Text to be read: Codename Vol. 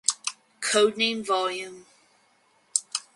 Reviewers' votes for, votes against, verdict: 2, 2, rejected